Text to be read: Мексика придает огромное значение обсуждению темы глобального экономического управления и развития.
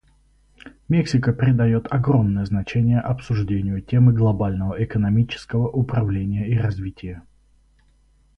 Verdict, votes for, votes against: accepted, 4, 0